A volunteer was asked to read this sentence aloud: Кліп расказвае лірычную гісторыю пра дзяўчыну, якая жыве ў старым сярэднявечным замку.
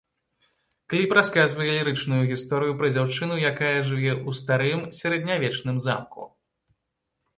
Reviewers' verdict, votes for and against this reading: accepted, 2, 0